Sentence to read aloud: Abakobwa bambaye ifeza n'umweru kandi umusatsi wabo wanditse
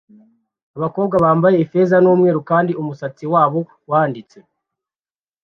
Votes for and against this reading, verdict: 2, 0, accepted